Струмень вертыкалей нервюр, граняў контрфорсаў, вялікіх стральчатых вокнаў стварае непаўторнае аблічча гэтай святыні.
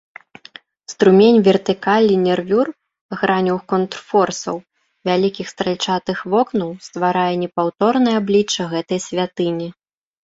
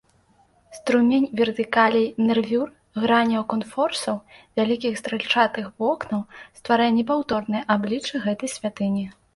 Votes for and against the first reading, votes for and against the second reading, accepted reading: 2, 0, 1, 2, first